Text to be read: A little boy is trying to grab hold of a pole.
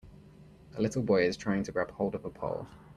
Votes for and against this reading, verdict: 2, 0, accepted